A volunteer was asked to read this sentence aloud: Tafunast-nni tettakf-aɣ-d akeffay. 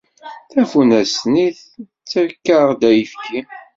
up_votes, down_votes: 1, 2